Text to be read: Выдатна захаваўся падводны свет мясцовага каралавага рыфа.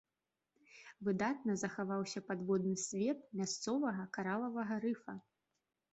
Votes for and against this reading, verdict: 4, 0, accepted